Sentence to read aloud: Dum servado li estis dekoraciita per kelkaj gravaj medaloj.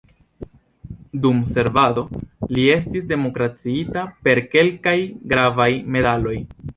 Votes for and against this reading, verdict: 2, 1, accepted